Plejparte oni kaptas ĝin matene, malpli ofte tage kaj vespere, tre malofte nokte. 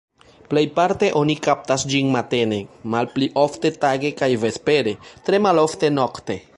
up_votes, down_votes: 2, 0